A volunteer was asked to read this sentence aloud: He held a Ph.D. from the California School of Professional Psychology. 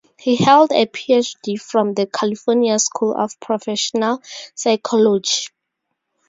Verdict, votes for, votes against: rejected, 0, 2